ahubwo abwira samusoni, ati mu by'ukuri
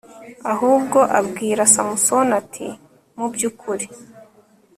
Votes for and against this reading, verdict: 3, 0, accepted